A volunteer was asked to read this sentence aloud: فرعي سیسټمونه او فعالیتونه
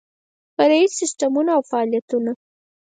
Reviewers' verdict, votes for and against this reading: accepted, 4, 0